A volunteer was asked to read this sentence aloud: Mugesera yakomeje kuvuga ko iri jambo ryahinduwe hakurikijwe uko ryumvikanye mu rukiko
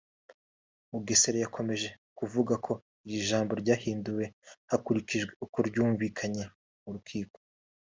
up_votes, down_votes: 2, 0